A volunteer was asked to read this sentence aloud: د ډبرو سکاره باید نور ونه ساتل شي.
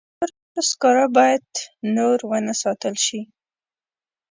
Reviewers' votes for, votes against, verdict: 0, 2, rejected